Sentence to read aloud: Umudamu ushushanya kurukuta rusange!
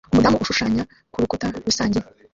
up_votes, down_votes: 2, 1